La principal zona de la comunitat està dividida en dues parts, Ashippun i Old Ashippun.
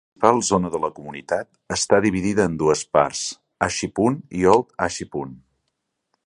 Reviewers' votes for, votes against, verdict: 1, 2, rejected